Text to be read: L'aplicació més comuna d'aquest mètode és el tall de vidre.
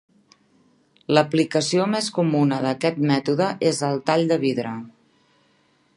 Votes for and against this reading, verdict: 2, 0, accepted